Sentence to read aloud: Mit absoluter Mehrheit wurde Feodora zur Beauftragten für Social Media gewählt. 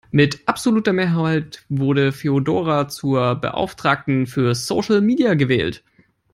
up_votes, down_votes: 3, 0